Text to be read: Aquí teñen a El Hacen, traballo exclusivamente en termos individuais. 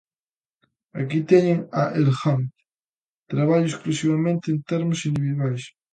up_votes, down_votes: 0, 2